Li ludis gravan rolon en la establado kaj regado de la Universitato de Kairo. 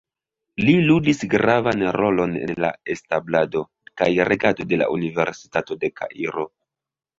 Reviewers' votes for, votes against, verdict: 1, 2, rejected